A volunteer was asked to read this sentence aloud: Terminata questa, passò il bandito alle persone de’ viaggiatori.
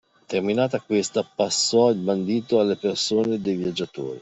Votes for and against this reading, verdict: 2, 0, accepted